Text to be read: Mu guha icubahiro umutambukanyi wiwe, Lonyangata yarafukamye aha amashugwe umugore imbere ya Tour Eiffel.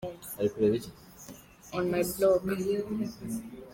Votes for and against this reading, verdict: 0, 2, rejected